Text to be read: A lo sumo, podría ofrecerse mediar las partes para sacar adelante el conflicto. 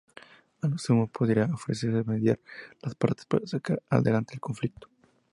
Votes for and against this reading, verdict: 0, 2, rejected